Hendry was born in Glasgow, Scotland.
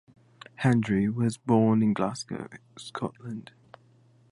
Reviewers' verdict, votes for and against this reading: accepted, 2, 0